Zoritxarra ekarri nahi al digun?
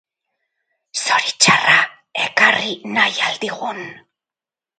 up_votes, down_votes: 2, 2